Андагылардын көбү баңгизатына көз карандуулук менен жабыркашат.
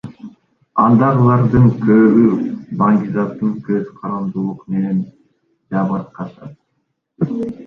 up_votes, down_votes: 2, 3